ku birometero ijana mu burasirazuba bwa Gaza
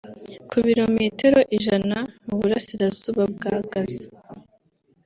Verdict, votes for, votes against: accepted, 2, 0